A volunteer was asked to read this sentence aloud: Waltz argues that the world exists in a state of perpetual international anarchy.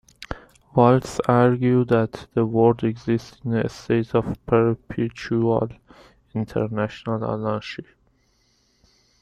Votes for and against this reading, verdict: 0, 2, rejected